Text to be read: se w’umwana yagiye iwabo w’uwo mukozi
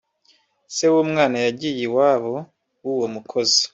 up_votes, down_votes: 2, 1